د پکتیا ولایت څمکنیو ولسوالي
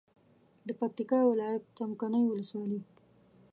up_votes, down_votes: 0, 2